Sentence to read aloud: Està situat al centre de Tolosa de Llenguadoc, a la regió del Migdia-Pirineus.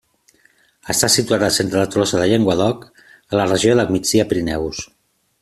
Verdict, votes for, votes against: accepted, 2, 0